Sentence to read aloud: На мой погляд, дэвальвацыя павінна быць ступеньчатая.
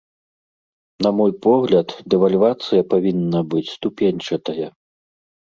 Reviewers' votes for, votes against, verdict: 2, 0, accepted